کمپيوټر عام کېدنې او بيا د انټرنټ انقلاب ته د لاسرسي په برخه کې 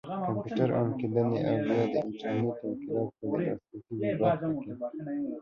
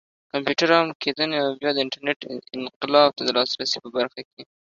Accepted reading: second